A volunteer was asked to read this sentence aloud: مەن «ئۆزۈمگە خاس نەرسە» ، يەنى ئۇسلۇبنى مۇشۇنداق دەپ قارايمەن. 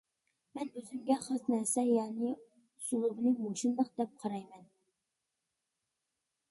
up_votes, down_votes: 0, 2